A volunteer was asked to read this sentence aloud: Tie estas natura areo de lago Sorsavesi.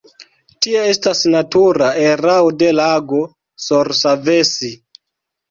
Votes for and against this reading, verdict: 1, 2, rejected